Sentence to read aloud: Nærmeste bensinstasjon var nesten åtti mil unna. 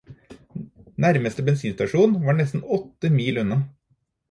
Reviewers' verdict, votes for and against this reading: accepted, 4, 0